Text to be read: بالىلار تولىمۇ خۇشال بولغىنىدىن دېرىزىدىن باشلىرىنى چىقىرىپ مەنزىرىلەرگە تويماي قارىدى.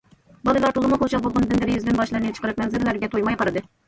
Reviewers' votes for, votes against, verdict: 1, 2, rejected